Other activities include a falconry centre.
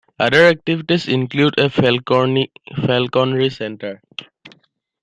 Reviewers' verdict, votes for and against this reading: rejected, 1, 2